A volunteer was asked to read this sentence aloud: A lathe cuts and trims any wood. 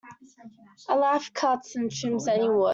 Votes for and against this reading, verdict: 0, 2, rejected